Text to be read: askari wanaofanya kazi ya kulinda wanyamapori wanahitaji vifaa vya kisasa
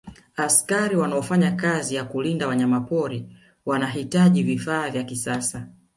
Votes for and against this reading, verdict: 1, 2, rejected